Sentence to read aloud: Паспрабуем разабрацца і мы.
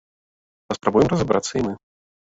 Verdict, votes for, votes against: rejected, 0, 2